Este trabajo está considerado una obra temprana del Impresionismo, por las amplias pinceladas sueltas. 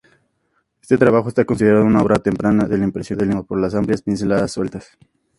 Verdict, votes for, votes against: accepted, 2, 0